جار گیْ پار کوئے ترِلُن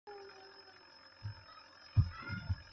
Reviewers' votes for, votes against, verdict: 0, 2, rejected